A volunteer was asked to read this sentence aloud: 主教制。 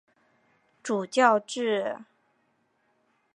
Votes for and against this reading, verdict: 3, 0, accepted